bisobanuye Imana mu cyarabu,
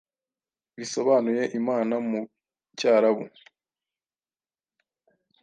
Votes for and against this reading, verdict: 2, 0, accepted